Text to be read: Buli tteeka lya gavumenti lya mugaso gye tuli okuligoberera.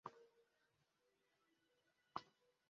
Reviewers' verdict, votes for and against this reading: rejected, 0, 2